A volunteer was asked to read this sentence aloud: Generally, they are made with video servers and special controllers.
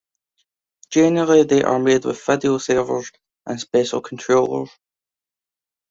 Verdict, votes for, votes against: rejected, 1, 2